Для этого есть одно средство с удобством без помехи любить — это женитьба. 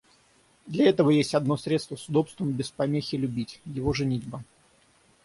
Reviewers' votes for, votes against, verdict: 0, 6, rejected